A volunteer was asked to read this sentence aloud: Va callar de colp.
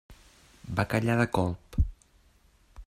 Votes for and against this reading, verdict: 0, 2, rejected